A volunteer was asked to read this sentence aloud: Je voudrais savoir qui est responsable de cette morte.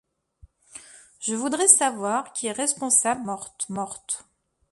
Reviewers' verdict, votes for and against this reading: rejected, 0, 2